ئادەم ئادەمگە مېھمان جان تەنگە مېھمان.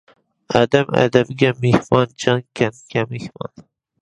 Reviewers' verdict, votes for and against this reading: rejected, 0, 2